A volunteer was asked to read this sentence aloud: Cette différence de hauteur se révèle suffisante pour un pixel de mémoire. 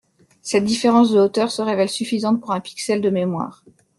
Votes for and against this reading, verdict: 2, 0, accepted